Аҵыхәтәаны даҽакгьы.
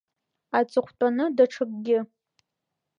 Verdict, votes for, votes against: accepted, 2, 0